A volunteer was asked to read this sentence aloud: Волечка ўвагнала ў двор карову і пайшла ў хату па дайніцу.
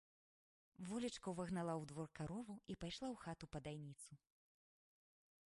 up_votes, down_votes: 0, 2